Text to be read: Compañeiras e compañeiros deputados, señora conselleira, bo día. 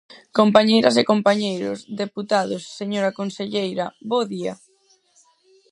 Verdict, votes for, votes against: rejected, 2, 4